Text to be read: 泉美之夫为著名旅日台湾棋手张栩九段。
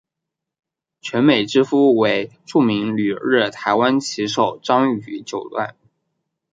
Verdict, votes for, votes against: accepted, 2, 0